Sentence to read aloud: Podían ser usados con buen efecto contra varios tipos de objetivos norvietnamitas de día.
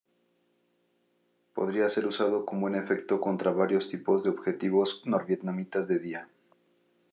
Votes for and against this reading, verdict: 1, 2, rejected